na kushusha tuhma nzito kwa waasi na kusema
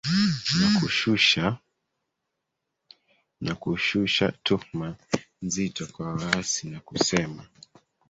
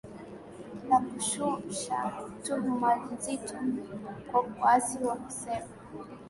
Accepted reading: second